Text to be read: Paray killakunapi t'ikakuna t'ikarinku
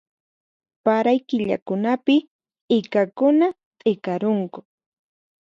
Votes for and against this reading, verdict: 2, 4, rejected